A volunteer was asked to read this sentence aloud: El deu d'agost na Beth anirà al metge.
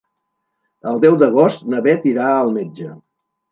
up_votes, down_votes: 1, 2